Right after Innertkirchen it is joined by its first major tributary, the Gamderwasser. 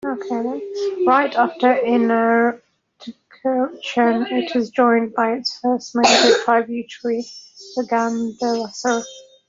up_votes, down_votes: 1, 2